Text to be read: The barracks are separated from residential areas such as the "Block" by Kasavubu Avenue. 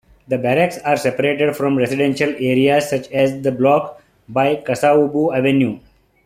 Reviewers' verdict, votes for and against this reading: accepted, 2, 0